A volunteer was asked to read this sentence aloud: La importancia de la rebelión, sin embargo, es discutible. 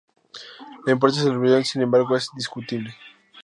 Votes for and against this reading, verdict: 0, 4, rejected